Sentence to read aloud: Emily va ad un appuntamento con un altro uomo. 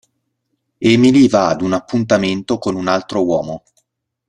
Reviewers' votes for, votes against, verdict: 2, 0, accepted